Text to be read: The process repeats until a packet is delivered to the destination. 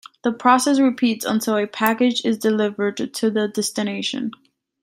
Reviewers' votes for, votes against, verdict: 0, 2, rejected